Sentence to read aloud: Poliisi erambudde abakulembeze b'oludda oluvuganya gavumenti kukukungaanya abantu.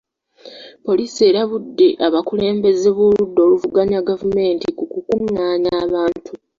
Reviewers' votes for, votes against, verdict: 0, 2, rejected